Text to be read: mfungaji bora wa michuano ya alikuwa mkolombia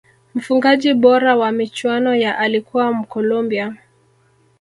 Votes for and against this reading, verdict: 2, 0, accepted